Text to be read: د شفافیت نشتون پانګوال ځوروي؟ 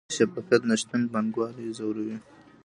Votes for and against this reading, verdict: 1, 2, rejected